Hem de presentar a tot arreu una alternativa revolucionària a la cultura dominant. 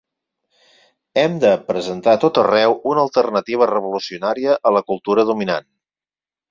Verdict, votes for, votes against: accepted, 4, 0